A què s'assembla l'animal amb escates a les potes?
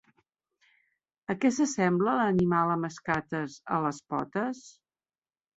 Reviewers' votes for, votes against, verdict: 3, 0, accepted